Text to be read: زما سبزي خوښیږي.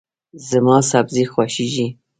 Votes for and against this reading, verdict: 0, 2, rejected